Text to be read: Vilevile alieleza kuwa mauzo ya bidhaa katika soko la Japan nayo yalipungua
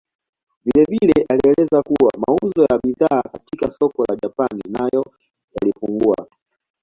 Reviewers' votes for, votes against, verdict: 1, 2, rejected